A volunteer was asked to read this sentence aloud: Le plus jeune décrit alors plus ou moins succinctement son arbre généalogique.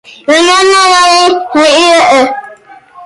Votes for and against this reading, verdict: 0, 2, rejected